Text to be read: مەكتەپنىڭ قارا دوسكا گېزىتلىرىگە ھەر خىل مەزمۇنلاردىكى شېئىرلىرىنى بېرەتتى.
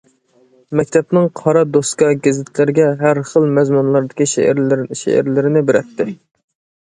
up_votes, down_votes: 0, 2